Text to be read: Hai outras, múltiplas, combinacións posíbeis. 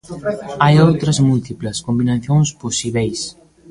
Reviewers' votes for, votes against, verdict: 0, 2, rejected